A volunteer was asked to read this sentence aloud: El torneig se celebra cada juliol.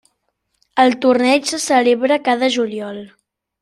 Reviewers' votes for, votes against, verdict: 3, 0, accepted